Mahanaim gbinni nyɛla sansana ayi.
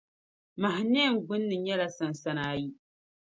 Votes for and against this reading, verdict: 2, 0, accepted